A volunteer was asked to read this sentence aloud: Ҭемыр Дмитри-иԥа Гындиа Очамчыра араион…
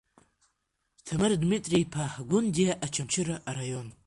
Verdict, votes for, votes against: rejected, 1, 2